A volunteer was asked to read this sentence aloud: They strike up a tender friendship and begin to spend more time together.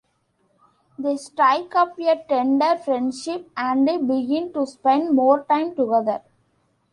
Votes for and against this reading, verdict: 2, 1, accepted